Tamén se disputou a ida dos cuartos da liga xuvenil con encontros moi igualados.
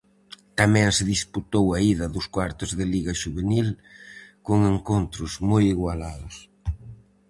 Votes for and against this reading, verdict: 2, 2, rejected